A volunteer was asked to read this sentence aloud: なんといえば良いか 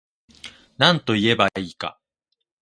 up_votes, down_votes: 2, 0